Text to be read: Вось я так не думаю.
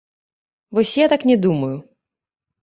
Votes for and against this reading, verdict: 0, 2, rejected